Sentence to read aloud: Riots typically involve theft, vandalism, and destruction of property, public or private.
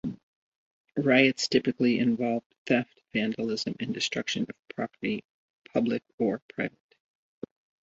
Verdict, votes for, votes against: accepted, 2, 0